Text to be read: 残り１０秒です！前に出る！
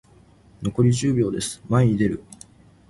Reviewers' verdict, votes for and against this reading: rejected, 0, 2